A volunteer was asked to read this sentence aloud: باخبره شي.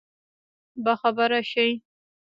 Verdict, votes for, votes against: rejected, 1, 3